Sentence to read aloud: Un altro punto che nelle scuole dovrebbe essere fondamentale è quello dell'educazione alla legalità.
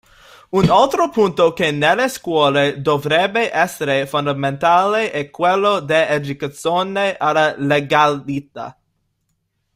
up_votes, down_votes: 0, 2